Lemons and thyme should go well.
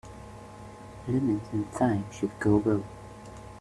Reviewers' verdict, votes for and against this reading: rejected, 1, 2